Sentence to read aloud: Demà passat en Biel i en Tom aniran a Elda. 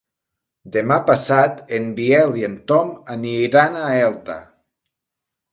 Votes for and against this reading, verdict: 2, 0, accepted